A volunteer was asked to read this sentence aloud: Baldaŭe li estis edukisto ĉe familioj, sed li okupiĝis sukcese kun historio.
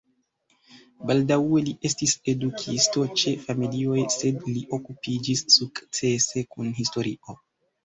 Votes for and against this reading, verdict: 0, 2, rejected